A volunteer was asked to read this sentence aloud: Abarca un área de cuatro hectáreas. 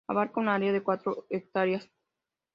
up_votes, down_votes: 2, 0